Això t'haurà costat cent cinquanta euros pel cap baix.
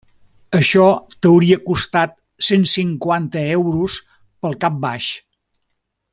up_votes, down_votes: 0, 2